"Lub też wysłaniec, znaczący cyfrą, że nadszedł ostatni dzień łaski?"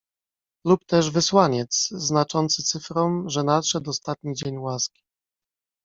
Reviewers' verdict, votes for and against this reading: rejected, 0, 2